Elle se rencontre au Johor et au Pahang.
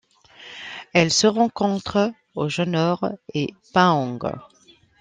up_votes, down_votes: 1, 2